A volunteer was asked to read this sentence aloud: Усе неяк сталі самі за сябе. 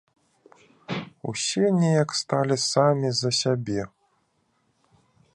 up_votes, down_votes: 2, 0